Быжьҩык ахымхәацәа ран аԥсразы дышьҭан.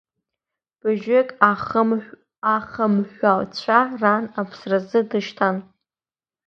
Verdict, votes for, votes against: rejected, 1, 2